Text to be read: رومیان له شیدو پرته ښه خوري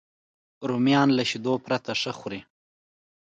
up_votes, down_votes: 2, 0